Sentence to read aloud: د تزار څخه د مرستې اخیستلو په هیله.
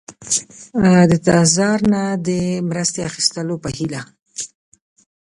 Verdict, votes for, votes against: rejected, 1, 2